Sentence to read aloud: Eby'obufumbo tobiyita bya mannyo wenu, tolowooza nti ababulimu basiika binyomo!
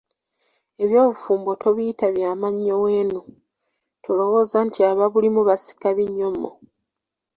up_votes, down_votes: 2, 0